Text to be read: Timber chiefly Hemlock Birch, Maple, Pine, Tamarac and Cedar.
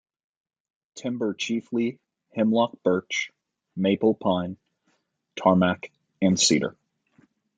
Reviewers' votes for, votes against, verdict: 0, 2, rejected